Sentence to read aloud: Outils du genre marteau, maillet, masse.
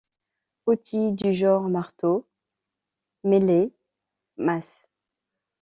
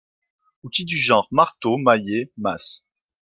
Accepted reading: second